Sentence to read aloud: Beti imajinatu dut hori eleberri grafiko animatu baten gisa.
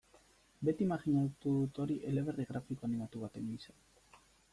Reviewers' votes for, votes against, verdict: 2, 0, accepted